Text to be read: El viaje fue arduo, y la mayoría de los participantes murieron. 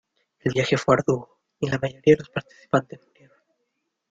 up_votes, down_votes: 1, 2